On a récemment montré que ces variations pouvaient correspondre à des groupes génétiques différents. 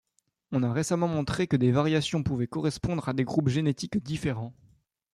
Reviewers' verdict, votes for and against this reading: rejected, 1, 2